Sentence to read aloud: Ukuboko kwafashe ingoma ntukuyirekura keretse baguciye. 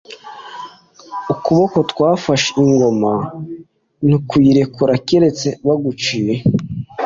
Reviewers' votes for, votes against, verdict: 1, 2, rejected